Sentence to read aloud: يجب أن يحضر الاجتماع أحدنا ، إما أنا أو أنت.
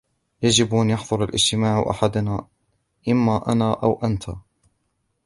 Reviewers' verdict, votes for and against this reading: accepted, 2, 1